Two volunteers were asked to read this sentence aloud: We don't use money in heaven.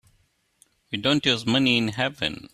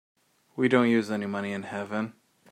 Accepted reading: first